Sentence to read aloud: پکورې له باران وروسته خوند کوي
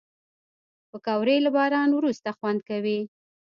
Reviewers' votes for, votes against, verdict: 1, 2, rejected